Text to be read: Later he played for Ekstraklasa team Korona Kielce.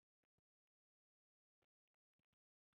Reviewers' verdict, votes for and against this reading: rejected, 0, 2